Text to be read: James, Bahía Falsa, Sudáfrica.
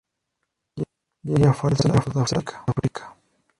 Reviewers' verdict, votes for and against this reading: rejected, 0, 2